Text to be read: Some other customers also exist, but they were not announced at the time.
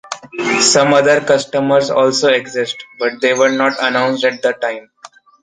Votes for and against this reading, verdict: 2, 0, accepted